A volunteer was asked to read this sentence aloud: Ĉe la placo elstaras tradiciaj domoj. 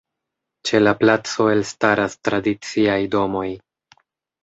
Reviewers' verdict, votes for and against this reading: accepted, 2, 0